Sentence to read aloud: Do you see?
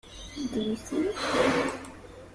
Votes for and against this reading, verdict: 0, 2, rejected